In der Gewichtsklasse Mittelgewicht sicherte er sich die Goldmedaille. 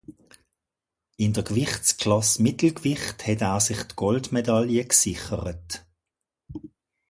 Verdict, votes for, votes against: rejected, 1, 2